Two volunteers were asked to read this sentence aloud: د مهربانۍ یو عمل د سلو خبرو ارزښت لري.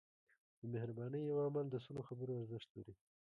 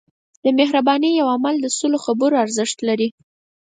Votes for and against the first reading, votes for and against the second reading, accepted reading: 1, 2, 4, 0, second